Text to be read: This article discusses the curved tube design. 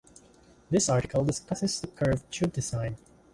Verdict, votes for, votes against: accepted, 2, 0